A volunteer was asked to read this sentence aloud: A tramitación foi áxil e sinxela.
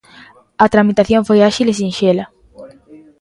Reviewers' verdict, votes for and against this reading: accepted, 2, 1